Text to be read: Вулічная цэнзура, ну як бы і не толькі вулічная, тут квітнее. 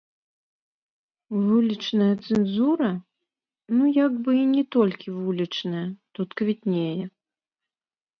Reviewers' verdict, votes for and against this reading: rejected, 1, 2